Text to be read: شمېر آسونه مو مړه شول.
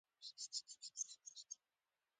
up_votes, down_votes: 0, 2